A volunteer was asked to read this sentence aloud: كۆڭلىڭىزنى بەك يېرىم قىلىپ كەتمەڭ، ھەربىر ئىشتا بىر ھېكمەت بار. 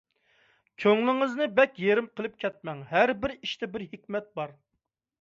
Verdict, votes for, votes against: accepted, 2, 0